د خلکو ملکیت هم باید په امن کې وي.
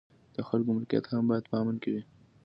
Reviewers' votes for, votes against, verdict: 2, 0, accepted